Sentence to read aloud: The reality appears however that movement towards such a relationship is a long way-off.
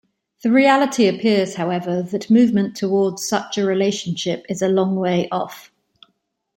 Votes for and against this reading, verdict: 2, 0, accepted